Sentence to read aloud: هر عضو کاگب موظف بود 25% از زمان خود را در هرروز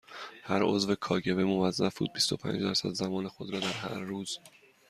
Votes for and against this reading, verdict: 0, 2, rejected